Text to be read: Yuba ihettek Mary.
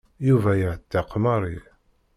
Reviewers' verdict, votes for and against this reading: rejected, 0, 2